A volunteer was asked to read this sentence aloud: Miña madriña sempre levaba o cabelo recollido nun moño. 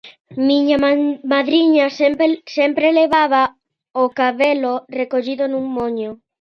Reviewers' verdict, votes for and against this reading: rejected, 0, 2